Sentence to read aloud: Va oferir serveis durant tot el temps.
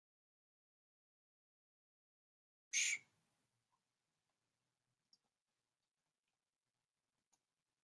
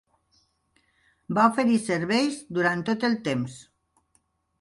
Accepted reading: second